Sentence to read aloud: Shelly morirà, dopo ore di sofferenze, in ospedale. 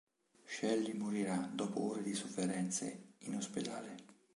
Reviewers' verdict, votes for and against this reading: rejected, 1, 2